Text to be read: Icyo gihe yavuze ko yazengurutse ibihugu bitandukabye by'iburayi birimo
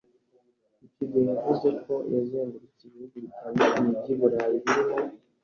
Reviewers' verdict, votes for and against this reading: rejected, 1, 2